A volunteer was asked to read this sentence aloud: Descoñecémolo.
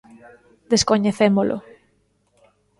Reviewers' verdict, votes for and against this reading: rejected, 1, 2